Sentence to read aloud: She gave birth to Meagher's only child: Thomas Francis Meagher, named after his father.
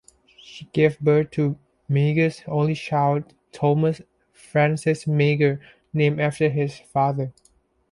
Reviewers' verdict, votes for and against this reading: accepted, 2, 0